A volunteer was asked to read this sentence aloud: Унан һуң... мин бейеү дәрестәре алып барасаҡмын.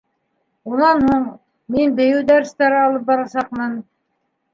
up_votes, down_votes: 3, 0